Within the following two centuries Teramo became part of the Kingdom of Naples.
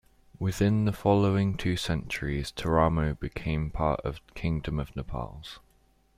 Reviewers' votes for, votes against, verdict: 1, 2, rejected